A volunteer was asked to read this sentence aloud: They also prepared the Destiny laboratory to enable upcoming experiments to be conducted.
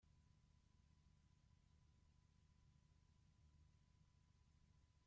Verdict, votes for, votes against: rejected, 0, 2